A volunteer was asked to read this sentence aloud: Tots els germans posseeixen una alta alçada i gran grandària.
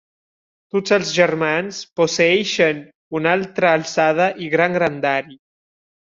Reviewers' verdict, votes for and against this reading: rejected, 0, 2